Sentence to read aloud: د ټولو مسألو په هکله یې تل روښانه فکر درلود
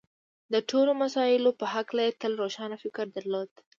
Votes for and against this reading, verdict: 2, 0, accepted